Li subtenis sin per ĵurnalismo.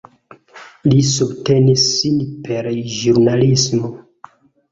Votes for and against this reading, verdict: 2, 0, accepted